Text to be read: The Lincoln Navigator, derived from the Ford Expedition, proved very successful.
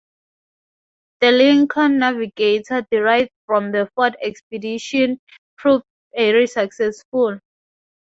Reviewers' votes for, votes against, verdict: 4, 0, accepted